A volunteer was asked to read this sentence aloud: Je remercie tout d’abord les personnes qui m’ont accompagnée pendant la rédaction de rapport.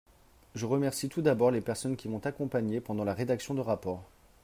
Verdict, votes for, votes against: accepted, 3, 0